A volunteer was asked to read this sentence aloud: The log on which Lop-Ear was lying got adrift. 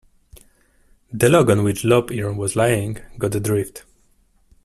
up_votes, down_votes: 2, 0